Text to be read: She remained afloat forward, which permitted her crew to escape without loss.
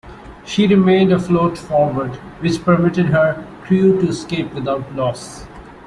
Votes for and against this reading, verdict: 2, 0, accepted